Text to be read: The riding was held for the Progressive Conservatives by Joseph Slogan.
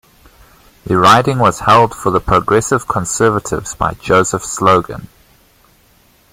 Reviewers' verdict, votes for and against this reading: accepted, 2, 0